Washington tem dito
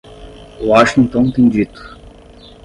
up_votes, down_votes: 5, 5